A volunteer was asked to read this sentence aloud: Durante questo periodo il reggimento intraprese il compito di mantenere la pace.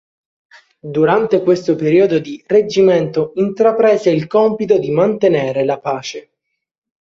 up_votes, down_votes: 0, 3